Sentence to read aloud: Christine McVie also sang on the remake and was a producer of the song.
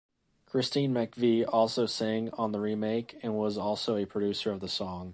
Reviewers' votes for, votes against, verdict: 1, 2, rejected